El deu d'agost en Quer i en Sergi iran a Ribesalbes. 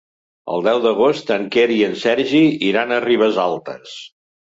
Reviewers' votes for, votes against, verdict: 2, 1, accepted